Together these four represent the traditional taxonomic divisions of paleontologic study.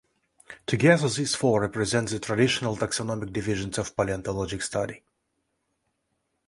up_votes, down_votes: 2, 0